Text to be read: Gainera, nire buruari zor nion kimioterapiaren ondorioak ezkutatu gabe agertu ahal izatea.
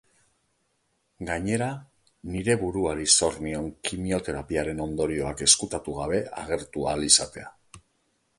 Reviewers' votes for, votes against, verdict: 3, 0, accepted